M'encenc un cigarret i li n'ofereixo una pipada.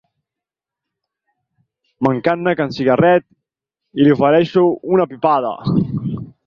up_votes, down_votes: 0, 4